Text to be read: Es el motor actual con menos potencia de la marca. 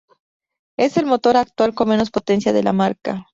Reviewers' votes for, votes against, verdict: 2, 0, accepted